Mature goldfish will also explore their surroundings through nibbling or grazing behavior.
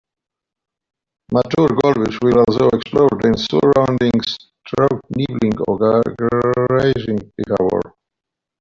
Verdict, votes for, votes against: rejected, 0, 2